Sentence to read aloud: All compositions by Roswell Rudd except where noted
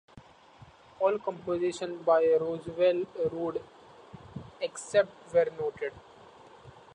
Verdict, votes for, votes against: rejected, 0, 2